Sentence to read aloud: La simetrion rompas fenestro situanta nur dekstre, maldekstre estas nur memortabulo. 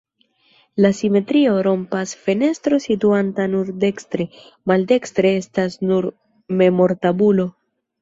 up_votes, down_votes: 2, 0